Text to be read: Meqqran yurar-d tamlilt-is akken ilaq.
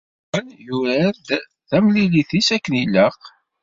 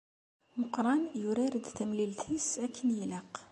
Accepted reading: second